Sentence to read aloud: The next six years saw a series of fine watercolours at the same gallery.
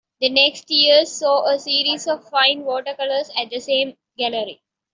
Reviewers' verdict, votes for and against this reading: rejected, 0, 2